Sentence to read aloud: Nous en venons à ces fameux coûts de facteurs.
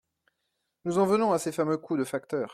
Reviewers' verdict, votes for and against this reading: accepted, 2, 0